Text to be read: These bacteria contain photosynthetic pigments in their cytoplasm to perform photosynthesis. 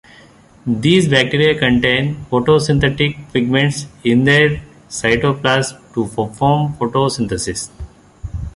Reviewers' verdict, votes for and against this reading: rejected, 1, 2